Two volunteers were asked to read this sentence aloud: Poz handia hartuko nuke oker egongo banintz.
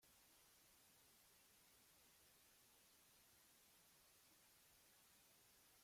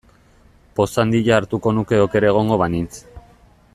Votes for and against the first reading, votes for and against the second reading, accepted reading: 0, 2, 2, 0, second